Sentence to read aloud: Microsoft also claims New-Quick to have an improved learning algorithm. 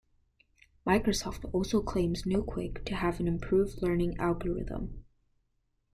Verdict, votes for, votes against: accepted, 2, 0